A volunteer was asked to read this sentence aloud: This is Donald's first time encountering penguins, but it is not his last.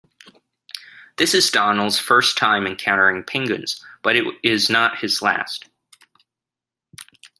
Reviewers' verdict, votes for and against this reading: rejected, 0, 2